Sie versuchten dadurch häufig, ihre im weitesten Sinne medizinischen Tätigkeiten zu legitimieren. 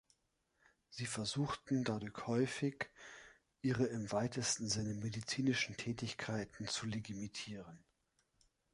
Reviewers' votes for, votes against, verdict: 0, 3, rejected